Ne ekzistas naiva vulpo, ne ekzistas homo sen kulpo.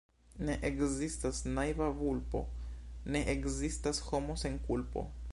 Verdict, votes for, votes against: rejected, 0, 2